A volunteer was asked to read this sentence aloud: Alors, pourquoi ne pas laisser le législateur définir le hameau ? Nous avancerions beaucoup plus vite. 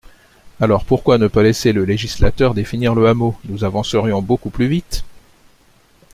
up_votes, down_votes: 2, 0